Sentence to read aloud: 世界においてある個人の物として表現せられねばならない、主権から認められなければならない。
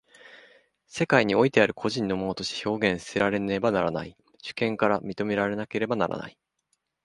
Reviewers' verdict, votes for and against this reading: rejected, 1, 2